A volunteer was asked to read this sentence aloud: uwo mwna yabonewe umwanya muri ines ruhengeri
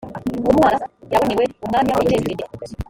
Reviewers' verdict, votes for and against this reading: rejected, 0, 2